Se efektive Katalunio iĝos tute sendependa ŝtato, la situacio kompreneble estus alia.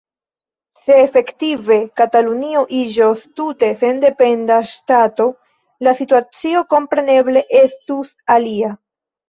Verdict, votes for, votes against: accepted, 2, 1